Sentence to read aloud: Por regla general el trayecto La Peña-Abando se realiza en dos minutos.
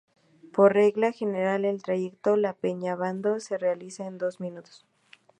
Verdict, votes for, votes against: accepted, 2, 0